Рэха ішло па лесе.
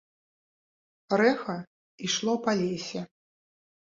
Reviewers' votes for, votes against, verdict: 1, 2, rejected